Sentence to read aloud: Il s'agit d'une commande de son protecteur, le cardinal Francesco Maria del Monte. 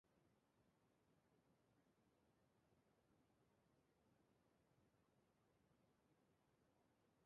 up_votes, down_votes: 0, 2